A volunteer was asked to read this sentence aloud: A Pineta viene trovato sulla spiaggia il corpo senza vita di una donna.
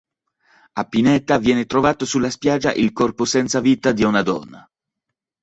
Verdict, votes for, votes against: accepted, 2, 0